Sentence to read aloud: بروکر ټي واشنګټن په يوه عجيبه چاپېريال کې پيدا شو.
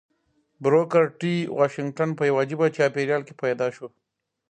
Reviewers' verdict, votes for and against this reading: rejected, 0, 2